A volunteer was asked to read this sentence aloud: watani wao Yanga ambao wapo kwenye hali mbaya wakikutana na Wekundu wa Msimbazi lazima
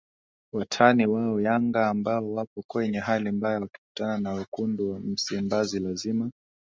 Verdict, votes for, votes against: accepted, 2, 1